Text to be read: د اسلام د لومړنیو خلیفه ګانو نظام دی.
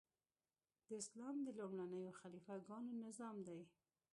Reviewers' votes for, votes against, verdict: 1, 2, rejected